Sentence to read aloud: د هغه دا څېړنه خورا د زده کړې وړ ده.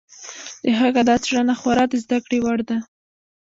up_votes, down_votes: 0, 2